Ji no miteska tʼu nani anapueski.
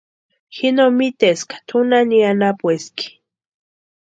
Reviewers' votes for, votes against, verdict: 2, 0, accepted